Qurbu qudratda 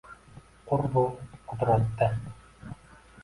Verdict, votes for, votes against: accepted, 2, 0